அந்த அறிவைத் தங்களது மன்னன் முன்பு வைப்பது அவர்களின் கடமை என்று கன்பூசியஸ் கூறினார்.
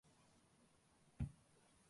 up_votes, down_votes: 0, 2